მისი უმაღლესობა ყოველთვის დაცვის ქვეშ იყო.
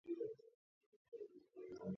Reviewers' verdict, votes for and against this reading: rejected, 0, 2